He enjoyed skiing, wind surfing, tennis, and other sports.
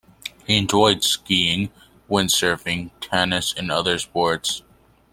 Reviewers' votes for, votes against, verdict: 2, 0, accepted